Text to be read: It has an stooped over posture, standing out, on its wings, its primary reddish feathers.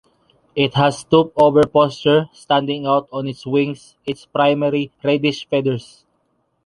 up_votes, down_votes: 0, 2